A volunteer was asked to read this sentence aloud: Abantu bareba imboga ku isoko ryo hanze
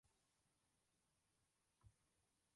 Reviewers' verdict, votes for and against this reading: rejected, 0, 2